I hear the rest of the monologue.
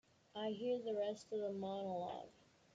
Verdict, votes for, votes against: accepted, 2, 1